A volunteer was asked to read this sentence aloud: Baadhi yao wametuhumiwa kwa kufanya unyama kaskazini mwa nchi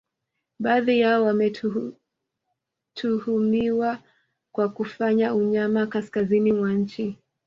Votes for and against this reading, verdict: 2, 1, accepted